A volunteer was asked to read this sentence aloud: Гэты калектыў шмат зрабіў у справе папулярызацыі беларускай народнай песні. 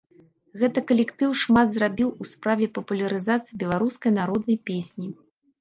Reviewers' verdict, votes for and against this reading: accepted, 2, 0